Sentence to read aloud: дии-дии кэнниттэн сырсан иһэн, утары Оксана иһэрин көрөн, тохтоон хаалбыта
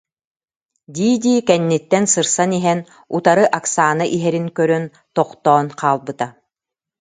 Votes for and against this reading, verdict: 2, 0, accepted